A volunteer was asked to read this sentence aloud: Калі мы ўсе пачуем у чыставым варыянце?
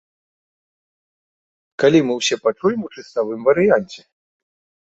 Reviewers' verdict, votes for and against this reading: rejected, 1, 2